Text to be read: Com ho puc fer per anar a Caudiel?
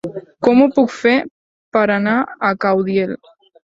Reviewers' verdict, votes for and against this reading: accepted, 3, 0